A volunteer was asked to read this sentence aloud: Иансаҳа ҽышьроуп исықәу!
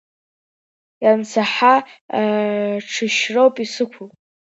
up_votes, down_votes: 1, 2